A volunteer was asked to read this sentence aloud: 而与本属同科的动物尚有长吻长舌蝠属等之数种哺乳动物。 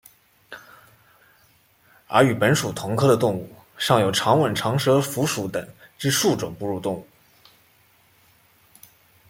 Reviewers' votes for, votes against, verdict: 2, 0, accepted